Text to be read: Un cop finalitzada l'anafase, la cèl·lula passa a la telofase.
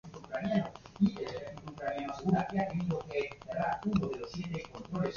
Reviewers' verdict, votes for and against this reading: rejected, 1, 3